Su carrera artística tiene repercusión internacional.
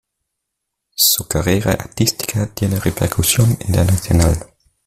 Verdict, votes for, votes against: accepted, 2, 0